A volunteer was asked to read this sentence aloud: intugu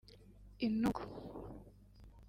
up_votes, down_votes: 2, 0